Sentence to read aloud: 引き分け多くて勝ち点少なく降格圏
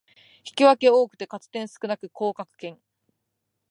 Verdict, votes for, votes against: accepted, 2, 0